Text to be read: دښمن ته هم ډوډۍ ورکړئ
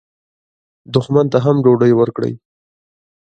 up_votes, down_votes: 0, 2